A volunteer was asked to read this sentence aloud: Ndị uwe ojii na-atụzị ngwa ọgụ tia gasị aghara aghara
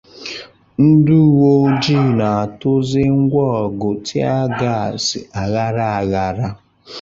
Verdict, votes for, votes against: accepted, 2, 0